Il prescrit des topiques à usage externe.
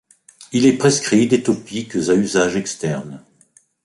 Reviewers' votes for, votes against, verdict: 0, 2, rejected